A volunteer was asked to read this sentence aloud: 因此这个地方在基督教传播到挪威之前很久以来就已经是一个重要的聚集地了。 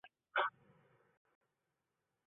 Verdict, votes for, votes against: rejected, 0, 2